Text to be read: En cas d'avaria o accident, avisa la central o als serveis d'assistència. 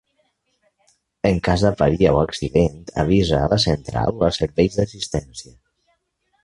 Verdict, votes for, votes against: rejected, 0, 2